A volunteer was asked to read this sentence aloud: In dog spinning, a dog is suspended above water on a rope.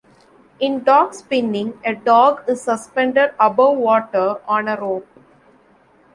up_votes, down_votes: 2, 1